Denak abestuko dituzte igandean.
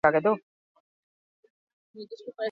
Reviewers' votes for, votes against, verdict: 0, 4, rejected